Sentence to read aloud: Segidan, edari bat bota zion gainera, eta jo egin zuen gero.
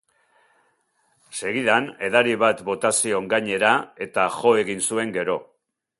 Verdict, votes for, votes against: accepted, 2, 0